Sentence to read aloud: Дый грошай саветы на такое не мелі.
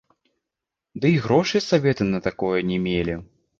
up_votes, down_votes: 2, 1